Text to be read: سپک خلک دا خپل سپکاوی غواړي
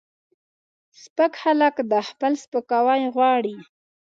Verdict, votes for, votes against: accepted, 2, 0